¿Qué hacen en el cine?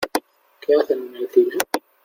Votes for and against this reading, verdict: 2, 0, accepted